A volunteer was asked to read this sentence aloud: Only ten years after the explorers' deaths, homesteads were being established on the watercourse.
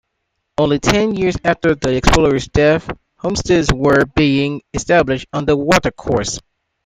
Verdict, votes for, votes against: rejected, 0, 2